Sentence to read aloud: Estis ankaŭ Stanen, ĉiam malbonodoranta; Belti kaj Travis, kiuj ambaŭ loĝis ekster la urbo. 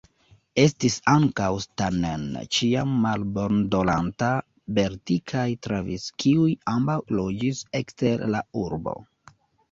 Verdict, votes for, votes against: rejected, 0, 2